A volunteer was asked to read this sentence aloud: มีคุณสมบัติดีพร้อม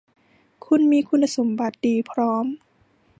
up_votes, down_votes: 2, 0